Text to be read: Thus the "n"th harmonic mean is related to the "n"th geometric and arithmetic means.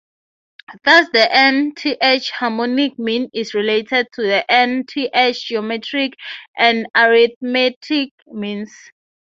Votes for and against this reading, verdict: 3, 3, rejected